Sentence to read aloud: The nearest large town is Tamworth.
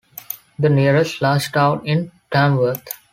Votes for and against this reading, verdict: 0, 2, rejected